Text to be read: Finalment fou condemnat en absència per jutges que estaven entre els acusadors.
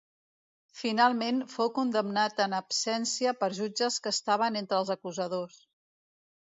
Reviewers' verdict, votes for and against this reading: accepted, 2, 0